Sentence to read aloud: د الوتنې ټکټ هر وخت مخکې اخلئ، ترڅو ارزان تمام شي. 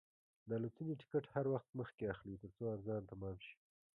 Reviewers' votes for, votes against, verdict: 1, 2, rejected